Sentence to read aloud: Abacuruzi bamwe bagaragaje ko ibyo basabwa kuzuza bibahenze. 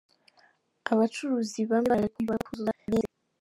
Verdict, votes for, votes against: rejected, 0, 2